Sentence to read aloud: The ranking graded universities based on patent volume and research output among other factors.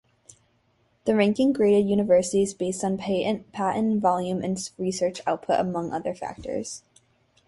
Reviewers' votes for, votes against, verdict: 2, 4, rejected